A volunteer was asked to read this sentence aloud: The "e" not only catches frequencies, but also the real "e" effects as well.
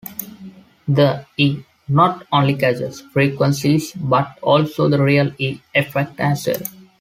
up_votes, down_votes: 2, 0